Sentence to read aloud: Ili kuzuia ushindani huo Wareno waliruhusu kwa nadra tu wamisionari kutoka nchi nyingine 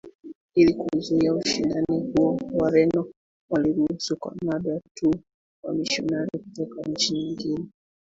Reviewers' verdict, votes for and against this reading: rejected, 0, 3